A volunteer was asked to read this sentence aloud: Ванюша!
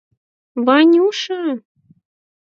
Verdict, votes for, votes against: rejected, 2, 4